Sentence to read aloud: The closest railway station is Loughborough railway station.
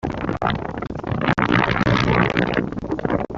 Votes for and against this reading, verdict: 0, 2, rejected